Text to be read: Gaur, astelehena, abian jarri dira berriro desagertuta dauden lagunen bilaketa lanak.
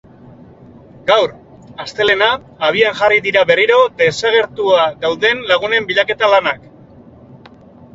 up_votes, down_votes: 0, 2